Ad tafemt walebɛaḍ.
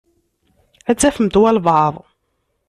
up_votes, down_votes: 3, 0